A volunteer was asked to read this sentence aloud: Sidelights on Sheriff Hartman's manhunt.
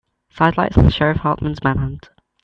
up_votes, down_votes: 2, 0